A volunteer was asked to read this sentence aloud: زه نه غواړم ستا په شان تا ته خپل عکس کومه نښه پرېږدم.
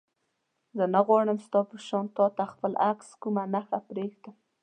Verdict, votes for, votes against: accepted, 2, 0